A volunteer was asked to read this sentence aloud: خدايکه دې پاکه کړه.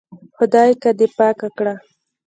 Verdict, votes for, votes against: rejected, 0, 2